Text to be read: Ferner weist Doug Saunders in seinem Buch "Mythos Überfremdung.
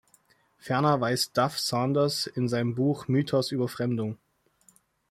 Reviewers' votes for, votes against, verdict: 0, 2, rejected